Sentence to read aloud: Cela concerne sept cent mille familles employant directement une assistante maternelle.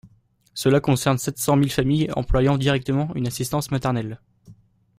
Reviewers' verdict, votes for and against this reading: rejected, 0, 2